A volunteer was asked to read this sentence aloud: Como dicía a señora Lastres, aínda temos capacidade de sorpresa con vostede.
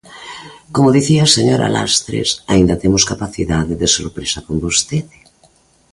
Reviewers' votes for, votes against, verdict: 2, 0, accepted